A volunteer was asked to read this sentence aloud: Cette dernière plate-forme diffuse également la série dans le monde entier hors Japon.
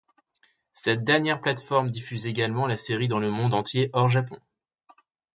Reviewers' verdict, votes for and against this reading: accepted, 2, 0